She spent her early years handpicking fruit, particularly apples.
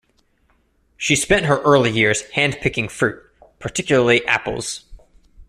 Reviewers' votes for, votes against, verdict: 2, 0, accepted